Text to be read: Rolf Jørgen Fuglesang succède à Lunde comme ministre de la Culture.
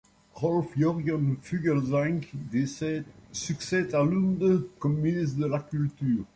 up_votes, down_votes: 1, 2